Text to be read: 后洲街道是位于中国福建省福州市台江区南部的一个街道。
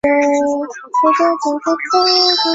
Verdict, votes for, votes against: rejected, 0, 3